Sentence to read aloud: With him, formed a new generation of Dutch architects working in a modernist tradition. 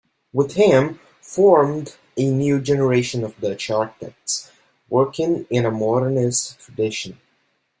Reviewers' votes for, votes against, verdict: 1, 2, rejected